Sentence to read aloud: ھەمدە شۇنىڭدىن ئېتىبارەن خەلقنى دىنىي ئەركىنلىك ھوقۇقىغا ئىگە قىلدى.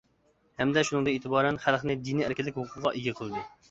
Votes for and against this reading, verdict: 2, 1, accepted